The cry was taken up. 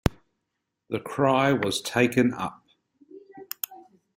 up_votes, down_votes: 1, 2